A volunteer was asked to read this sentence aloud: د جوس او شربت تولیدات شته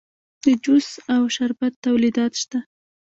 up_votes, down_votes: 0, 2